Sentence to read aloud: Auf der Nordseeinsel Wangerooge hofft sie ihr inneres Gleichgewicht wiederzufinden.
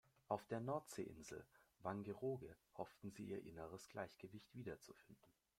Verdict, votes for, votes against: rejected, 1, 2